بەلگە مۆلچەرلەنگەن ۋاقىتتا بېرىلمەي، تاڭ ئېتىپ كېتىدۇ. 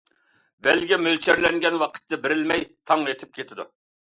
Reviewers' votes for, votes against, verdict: 2, 0, accepted